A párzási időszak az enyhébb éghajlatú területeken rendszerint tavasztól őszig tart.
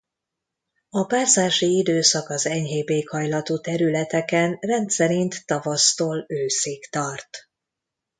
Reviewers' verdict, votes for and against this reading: accepted, 2, 0